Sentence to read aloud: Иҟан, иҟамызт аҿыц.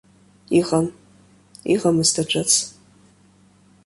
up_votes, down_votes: 1, 2